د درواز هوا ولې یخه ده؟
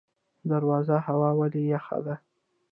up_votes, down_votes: 0, 2